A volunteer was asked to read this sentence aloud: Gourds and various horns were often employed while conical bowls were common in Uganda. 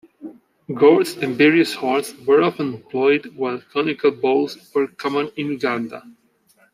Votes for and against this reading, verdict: 0, 2, rejected